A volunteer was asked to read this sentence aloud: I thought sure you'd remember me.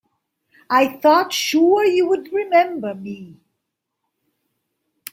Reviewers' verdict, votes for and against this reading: rejected, 1, 2